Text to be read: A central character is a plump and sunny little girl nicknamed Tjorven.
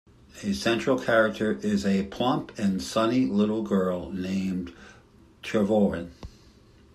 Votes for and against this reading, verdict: 1, 2, rejected